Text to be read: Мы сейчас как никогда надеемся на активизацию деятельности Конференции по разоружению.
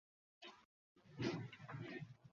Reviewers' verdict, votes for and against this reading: rejected, 0, 2